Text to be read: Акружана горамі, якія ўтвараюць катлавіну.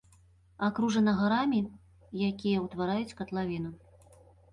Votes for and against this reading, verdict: 0, 2, rejected